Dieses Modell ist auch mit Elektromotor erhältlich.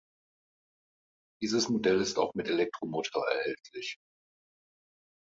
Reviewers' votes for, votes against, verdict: 2, 0, accepted